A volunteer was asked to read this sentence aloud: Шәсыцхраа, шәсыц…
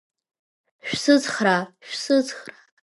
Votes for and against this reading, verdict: 0, 2, rejected